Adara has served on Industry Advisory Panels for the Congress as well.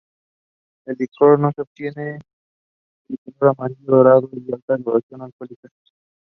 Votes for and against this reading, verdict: 0, 2, rejected